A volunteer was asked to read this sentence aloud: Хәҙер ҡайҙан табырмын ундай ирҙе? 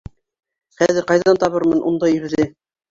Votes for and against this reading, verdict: 2, 0, accepted